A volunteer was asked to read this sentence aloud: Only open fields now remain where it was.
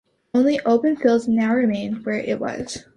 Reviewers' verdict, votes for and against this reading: accepted, 2, 0